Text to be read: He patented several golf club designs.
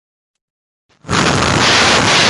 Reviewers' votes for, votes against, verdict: 0, 2, rejected